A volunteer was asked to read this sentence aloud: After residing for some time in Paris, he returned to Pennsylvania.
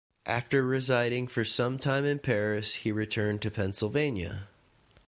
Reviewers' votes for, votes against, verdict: 2, 0, accepted